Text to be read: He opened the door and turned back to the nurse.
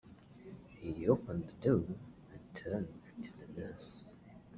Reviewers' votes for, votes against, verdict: 0, 2, rejected